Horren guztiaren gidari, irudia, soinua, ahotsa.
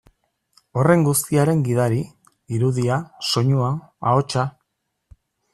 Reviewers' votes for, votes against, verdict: 2, 0, accepted